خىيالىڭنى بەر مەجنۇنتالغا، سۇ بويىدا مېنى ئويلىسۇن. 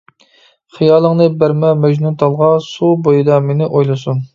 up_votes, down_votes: 0, 2